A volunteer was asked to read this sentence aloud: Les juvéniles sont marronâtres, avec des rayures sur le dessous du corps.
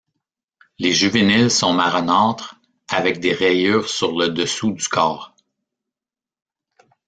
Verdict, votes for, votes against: rejected, 1, 2